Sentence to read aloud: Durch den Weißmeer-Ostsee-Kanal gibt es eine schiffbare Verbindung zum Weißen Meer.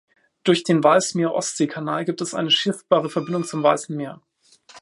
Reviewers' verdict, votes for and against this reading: rejected, 2, 3